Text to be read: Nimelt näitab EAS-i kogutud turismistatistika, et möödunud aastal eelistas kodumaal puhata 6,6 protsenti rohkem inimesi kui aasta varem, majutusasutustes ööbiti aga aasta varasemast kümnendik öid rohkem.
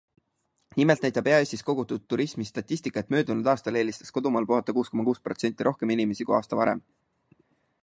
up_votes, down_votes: 0, 2